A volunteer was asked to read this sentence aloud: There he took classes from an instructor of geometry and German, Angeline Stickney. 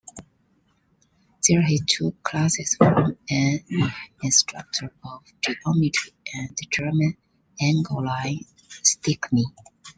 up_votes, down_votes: 1, 2